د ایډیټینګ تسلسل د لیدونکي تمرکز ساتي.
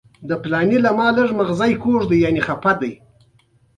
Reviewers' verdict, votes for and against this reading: accepted, 2, 1